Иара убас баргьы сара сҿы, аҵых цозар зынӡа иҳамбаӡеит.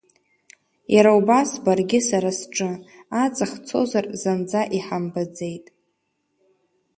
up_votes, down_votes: 2, 0